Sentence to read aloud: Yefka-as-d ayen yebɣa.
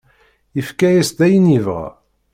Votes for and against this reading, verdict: 2, 0, accepted